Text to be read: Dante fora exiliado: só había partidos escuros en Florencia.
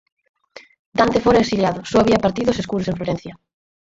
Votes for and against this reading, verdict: 2, 4, rejected